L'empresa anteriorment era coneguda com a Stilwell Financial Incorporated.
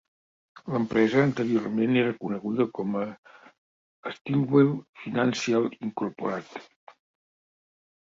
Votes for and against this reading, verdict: 1, 2, rejected